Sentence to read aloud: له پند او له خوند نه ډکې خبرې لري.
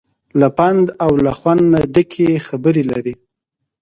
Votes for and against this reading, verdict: 2, 0, accepted